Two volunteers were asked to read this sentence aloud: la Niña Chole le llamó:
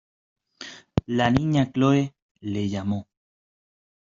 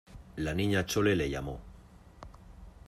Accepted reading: second